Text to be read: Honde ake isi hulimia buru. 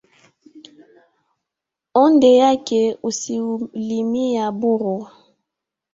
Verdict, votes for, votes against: accepted, 2, 1